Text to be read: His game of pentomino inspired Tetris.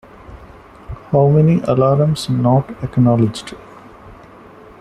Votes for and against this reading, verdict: 0, 2, rejected